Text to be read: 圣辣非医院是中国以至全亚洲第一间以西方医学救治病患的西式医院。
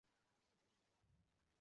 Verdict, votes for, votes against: accepted, 2, 0